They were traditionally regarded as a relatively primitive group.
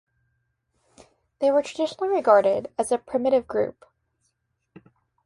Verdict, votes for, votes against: rejected, 0, 2